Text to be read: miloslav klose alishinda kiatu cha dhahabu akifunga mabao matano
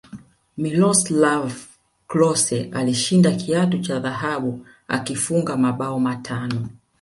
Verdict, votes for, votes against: accepted, 2, 0